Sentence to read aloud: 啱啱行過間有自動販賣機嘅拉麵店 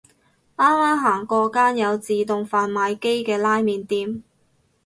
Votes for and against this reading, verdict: 2, 2, rejected